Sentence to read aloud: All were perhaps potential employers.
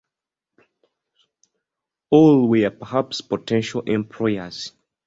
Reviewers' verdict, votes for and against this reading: accepted, 2, 0